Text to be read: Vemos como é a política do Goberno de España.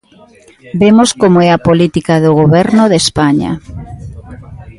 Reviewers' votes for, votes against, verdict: 1, 2, rejected